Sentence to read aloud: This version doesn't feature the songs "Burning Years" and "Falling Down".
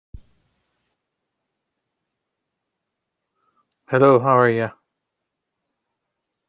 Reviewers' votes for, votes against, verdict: 0, 2, rejected